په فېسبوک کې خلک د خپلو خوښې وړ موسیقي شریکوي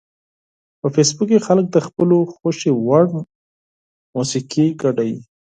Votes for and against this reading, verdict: 4, 2, accepted